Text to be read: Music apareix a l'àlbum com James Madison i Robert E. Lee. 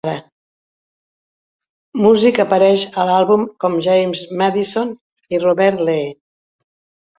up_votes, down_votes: 0, 2